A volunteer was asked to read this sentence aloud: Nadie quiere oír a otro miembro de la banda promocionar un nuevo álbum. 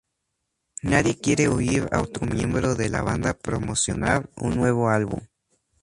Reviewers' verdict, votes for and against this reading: rejected, 0, 2